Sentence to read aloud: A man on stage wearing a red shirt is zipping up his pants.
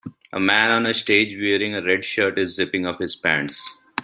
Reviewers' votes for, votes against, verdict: 2, 1, accepted